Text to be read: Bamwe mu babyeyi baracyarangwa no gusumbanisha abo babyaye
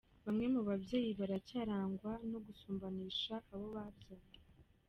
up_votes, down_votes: 2, 1